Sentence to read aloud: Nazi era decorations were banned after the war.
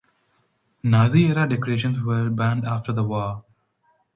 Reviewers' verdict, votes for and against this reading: accepted, 2, 0